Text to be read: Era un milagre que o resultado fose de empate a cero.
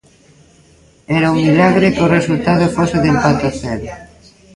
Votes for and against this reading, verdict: 1, 2, rejected